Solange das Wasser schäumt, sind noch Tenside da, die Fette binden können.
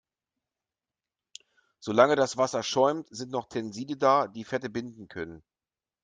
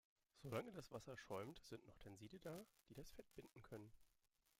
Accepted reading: first